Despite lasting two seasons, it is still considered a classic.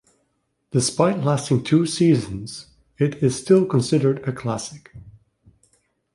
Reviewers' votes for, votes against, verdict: 2, 0, accepted